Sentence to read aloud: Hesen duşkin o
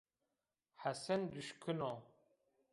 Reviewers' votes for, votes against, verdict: 0, 2, rejected